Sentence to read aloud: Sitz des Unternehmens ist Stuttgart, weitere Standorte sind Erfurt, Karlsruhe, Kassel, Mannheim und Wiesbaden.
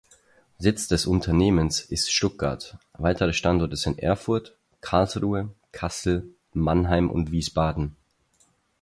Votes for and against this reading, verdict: 4, 0, accepted